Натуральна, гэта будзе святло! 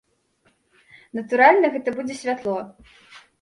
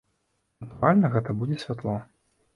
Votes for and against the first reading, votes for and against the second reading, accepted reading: 2, 0, 0, 2, first